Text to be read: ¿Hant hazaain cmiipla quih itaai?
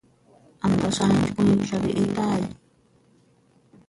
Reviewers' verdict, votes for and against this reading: rejected, 1, 2